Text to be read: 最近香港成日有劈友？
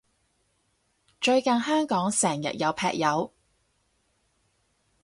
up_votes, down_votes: 4, 0